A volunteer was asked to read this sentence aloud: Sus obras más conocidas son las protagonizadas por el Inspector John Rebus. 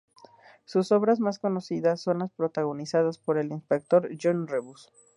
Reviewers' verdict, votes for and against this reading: rejected, 0, 2